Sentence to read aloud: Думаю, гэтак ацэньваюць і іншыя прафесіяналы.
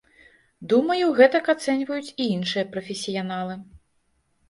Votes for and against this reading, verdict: 2, 0, accepted